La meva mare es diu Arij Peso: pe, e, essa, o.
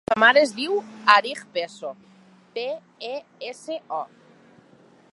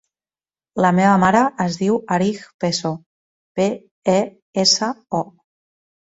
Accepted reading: second